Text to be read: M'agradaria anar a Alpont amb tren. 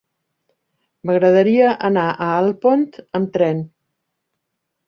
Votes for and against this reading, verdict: 3, 0, accepted